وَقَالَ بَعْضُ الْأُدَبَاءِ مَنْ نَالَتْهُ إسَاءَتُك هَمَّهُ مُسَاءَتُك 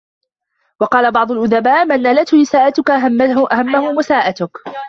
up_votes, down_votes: 0, 2